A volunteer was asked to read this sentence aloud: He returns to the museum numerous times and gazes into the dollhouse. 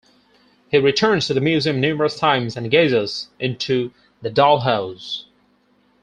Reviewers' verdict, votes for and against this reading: rejected, 0, 4